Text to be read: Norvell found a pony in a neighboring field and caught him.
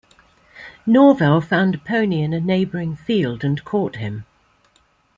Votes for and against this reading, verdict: 2, 0, accepted